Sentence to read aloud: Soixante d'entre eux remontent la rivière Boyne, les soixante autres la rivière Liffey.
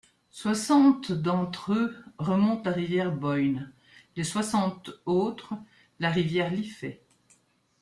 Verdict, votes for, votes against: accepted, 2, 0